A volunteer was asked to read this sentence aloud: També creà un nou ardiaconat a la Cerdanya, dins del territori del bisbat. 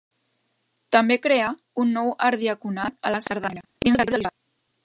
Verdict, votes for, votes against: rejected, 0, 2